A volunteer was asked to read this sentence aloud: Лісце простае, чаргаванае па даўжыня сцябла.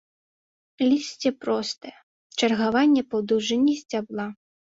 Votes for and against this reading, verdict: 0, 2, rejected